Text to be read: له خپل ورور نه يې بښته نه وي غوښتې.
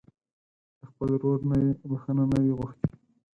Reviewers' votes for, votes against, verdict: 2, 4, rejected